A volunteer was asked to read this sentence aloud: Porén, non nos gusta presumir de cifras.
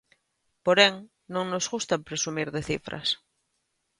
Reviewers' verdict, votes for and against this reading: accepted, 2, 0